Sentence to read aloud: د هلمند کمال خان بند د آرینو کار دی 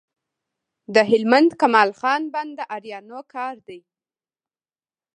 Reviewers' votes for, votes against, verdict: 2, 1, accepted